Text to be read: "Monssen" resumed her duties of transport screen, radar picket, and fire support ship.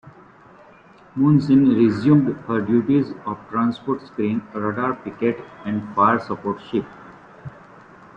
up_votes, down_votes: 0, 2